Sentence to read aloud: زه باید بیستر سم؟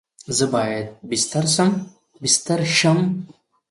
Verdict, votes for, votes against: accepted, 2, 0